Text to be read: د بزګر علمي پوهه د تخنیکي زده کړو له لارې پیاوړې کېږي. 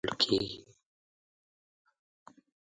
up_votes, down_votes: 1, 4